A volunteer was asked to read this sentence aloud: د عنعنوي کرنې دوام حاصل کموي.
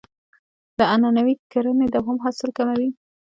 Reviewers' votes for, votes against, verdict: 1, 2, rejected